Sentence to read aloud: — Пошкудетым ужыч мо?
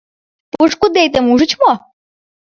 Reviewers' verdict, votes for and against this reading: accepted, 2, 0